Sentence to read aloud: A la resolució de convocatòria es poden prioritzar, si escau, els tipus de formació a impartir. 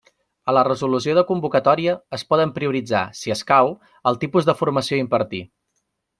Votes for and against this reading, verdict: 1, 2, rejected